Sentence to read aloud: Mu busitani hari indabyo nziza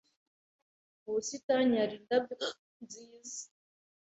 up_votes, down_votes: 2, 0